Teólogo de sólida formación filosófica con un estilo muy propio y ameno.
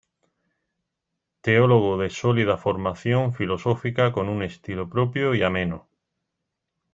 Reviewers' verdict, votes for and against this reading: rejected, 1, 2